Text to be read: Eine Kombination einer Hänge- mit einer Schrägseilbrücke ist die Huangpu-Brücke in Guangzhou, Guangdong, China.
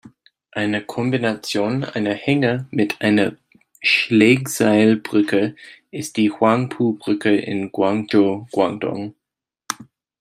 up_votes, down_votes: 0, 2